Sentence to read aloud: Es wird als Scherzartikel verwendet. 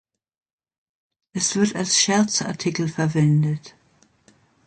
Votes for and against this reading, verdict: 2, 0, accepted